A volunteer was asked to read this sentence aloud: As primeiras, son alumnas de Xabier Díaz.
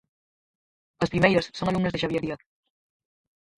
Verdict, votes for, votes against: rejected, 0, 4